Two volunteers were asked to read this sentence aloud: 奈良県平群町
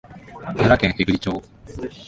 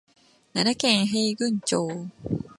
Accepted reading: first